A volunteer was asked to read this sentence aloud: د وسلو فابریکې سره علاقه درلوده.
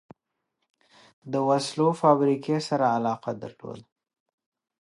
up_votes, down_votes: 2, 0